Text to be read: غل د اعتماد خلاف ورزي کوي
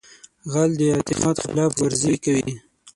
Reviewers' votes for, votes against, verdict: 3, 6, rejected